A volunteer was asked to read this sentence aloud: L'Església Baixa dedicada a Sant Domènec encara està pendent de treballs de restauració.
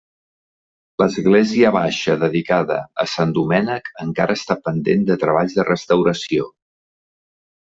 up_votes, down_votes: 3, 0